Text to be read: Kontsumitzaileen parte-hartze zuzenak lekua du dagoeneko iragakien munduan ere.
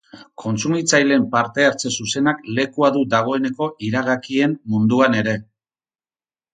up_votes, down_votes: 6, 0